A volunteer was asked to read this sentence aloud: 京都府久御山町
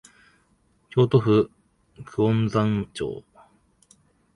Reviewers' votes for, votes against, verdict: 0, 2, rejected